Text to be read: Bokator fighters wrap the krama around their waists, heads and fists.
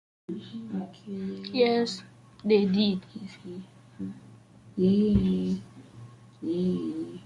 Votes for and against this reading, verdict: 0, 2, rejected